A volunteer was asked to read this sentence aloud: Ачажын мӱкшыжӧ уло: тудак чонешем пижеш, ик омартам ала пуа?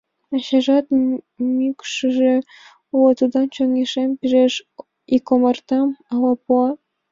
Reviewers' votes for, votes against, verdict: 1, 4, rejected